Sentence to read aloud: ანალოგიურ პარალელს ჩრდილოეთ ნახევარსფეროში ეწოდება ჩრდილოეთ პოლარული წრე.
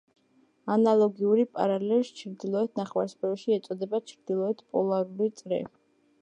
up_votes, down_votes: 2, 1